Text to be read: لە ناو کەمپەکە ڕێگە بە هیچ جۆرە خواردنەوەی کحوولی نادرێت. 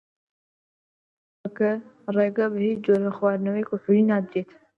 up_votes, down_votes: 0, 2